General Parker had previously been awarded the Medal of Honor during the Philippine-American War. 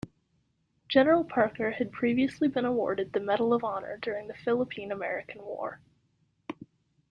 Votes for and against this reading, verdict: 2, 0, accepted